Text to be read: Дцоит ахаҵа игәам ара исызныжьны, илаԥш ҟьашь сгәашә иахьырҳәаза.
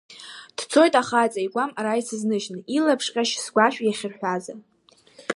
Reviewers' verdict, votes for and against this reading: rejected, 1, 2